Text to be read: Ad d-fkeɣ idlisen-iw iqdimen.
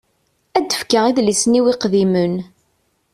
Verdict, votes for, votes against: accepted, 2, 0